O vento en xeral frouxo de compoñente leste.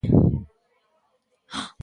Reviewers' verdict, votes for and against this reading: rejected, 0, 2